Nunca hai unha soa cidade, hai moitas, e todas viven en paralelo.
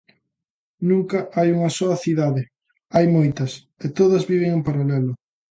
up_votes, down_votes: 2, 0